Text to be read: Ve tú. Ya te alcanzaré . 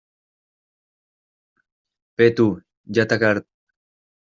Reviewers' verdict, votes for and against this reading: rejected, 0, 2